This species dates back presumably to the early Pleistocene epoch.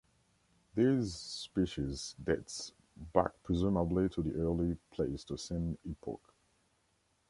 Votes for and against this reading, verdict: 2, 0, accepted